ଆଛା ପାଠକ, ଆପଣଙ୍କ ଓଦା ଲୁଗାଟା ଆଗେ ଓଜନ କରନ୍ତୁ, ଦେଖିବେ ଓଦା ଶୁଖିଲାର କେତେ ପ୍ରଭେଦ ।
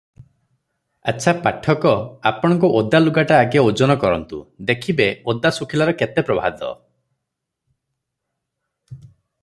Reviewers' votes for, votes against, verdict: 0, 3, rejected